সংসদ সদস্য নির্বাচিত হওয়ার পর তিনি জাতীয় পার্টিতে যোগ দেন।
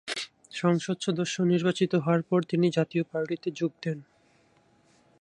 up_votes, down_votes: 2, 0